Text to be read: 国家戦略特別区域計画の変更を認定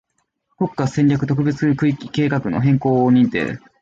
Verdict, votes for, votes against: rejected, 0, 2